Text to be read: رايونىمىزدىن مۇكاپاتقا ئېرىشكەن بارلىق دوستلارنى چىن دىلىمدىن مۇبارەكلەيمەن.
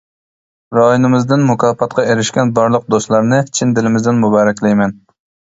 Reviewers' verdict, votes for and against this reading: rejected, 0, 2